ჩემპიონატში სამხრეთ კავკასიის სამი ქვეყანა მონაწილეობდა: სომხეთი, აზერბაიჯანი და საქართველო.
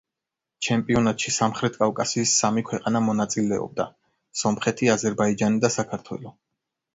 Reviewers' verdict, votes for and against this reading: accepted, 4, 0